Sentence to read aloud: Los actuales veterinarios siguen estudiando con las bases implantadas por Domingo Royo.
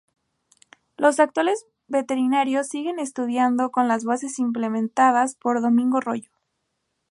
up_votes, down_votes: 2, 2